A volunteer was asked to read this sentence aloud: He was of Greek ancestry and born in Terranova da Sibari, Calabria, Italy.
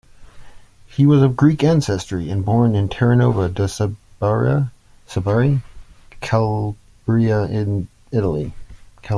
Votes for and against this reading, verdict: 0, 2, rejected